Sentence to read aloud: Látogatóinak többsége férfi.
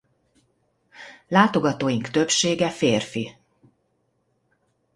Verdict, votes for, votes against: rejected, 0, 2